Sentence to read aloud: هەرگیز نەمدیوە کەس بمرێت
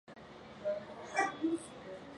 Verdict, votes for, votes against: rejected, 0, 3